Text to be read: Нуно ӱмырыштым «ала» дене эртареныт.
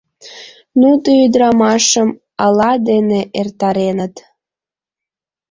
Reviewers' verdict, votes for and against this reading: rejected, 2, 3